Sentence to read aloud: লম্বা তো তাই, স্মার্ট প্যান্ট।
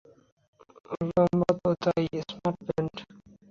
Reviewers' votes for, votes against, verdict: 0, 2, rejected